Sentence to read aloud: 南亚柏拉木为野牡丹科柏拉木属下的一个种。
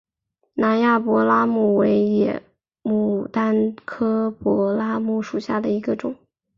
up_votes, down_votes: 6, 0